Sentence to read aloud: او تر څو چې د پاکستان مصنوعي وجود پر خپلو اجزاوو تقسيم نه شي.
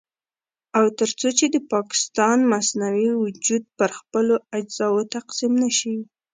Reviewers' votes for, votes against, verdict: 2, 0, accepted